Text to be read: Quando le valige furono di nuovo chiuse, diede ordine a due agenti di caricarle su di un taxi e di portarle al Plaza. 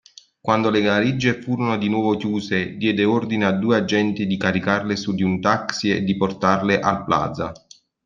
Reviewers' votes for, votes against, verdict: 2, 0, accepted